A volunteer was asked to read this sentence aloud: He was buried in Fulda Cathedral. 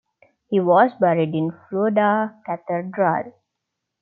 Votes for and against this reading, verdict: 0, 2, rejected